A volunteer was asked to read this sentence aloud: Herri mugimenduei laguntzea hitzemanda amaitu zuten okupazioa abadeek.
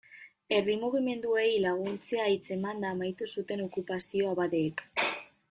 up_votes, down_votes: 2, 1